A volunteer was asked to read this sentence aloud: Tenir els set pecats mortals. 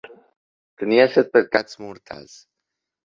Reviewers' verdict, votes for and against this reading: accepted, 2, 1